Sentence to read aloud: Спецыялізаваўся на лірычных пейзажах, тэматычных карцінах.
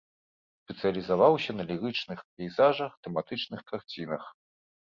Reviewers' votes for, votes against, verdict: 0, 2, rejected